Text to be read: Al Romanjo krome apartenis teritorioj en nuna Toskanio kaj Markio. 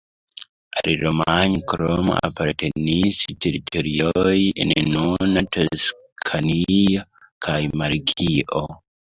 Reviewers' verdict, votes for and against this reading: accepted, 2, 1